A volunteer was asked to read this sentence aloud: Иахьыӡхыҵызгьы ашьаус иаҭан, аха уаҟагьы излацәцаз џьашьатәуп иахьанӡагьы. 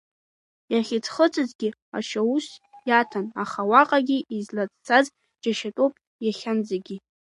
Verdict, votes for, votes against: accepted, 2, 1